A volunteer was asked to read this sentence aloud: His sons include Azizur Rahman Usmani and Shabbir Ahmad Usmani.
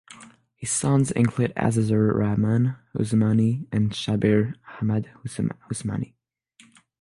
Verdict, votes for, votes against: rejected, 3, 3